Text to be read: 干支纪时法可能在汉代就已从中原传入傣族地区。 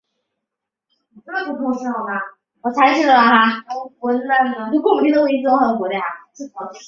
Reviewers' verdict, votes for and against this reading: rejected, 0, 3